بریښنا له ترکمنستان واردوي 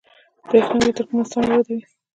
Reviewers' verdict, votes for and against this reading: accepted, 2, 1